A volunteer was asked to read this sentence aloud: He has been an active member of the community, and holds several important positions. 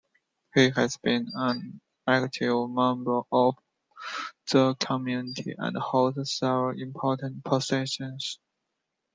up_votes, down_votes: 3, 1